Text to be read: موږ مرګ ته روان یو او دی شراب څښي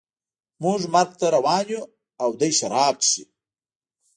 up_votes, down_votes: 1, 2